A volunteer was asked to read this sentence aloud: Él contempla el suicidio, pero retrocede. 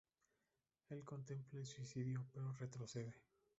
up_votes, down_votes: 0, 2